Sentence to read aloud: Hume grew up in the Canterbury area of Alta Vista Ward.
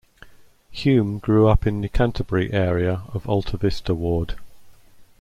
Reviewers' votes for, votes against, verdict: 2, 0, accepted